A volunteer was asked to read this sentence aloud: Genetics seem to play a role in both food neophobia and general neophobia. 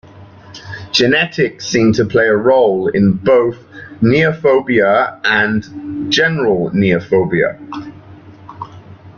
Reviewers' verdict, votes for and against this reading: rejected, 1, 2